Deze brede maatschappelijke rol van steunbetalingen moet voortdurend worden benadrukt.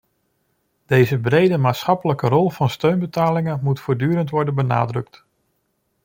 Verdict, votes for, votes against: accepted, 2, 0